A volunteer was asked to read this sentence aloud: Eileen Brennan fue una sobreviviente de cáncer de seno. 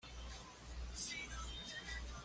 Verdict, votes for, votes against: rejected, 1, 2